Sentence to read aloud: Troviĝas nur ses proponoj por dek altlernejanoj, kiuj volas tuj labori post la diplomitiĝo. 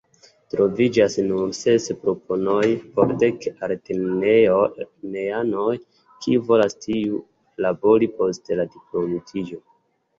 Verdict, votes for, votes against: accepted, 2, 0